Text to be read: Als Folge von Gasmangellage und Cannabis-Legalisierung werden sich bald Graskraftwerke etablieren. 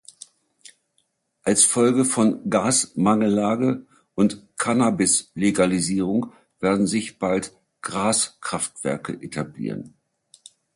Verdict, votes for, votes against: accepted, 2, 0